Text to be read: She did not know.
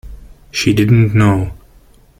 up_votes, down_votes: 1, 2